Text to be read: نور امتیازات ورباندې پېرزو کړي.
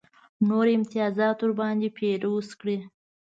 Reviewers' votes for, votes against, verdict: 1, 2, rejected